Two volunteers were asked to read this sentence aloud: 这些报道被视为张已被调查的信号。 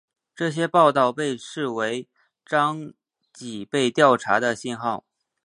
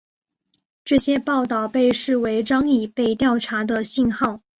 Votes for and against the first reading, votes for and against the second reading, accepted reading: 0, 2, 7, 1, second